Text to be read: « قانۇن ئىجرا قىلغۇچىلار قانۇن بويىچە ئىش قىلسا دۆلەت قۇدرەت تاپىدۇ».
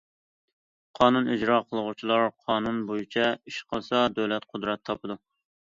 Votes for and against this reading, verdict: 2, 0, accepted